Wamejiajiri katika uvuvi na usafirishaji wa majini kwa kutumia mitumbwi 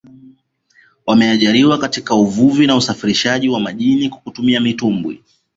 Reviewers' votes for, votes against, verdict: 1, 2, rejected